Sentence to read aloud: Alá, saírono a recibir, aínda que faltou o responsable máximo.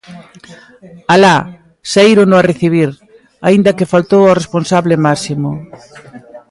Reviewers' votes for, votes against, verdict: 1, 2, rejected